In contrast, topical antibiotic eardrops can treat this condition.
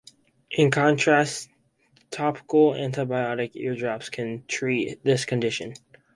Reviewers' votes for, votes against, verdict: 4, 0, accepted